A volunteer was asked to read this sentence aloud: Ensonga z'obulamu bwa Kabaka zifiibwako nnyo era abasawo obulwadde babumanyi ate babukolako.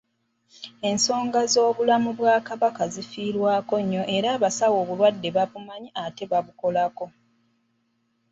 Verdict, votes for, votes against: rejected, 1, 2